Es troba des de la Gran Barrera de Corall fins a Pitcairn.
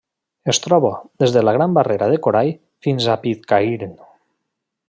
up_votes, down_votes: 2, 0